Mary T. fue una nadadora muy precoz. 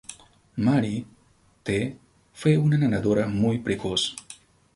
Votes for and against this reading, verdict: 2, 0, accepted